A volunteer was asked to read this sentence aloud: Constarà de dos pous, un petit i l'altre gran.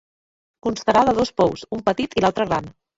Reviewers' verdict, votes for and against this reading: rejected, 1, 2